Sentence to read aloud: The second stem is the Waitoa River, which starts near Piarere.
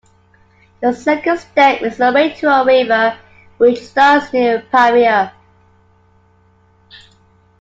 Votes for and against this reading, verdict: 2, 0, accepted